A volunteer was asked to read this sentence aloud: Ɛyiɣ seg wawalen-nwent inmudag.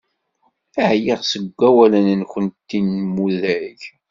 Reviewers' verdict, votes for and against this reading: rejected, 1, 2